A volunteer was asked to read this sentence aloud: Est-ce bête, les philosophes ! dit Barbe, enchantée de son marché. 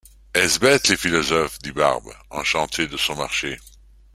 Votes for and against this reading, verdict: 2, 0, accepted